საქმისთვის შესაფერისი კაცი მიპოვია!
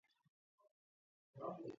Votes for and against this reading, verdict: 0, 2, rejected